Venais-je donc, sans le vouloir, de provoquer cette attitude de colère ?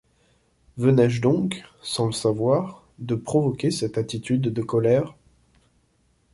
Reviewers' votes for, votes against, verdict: 0, 2, rejected